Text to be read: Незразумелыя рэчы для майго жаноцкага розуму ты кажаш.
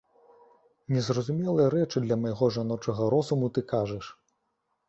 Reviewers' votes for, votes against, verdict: 0, 2, rejected